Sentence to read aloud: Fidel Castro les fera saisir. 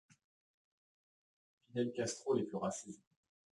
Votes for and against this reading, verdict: 2, 1, accepted